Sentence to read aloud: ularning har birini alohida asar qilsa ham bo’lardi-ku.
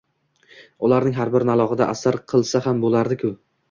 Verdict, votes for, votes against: accepted, 2, 0